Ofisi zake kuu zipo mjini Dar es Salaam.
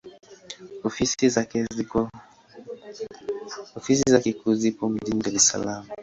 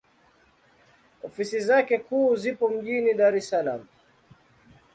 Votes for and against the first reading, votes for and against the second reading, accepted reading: 5, 5, 2, 0, second